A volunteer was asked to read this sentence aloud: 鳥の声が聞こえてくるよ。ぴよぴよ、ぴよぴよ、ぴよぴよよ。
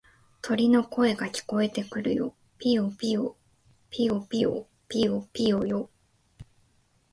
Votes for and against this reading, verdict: 2, 0, accepted